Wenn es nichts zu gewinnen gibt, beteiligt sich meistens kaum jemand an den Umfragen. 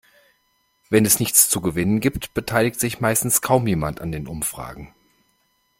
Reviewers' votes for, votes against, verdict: 2, 0, accepted